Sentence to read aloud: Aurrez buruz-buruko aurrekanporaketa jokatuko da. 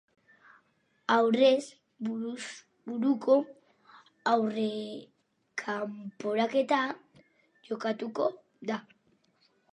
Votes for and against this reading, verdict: 2, 2, rejected